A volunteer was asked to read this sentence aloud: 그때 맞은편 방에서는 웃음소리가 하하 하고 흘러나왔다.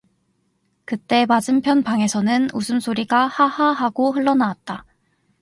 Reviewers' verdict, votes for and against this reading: accepted, 4, 0